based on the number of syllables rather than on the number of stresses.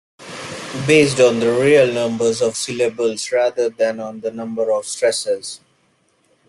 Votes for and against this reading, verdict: 0, 2, rejected